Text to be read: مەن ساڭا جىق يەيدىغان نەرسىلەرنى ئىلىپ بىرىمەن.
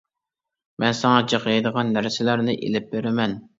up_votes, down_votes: 2, 0